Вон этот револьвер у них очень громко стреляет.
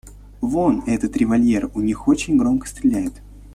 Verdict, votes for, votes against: rejected, 1, 2